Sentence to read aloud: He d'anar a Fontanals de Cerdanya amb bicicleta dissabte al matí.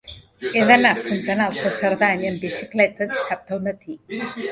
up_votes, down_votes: 1, 2